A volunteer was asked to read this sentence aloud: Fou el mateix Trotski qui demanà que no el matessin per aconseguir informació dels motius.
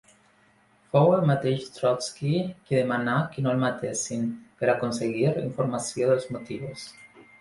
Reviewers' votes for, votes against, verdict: 2, 0, accepted